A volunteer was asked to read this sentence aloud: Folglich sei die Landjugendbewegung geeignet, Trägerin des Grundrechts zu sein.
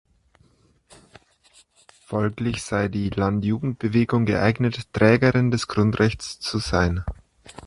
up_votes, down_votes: 2, 0